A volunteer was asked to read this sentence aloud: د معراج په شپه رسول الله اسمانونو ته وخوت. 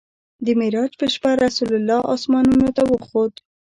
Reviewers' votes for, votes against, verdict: 2, 0, accepted